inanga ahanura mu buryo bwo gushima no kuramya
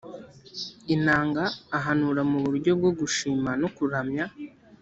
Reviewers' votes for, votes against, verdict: 2, 0, accepted